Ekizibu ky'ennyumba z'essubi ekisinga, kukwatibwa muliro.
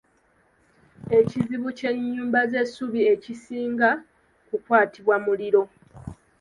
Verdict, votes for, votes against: rejected, 0, 2